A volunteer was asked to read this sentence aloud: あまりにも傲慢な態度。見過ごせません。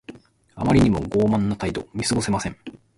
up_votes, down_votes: 3, 0